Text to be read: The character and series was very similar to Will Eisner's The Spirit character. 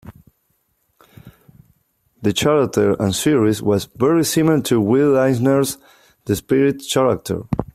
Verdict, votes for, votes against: rejected, 1, 2